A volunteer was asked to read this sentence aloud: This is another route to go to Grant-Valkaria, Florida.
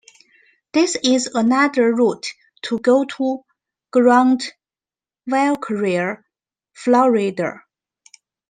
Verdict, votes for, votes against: accepted, 2, 0